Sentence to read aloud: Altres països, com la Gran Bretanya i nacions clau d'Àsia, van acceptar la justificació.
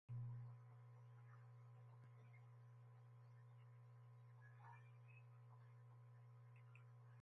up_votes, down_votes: 0, 2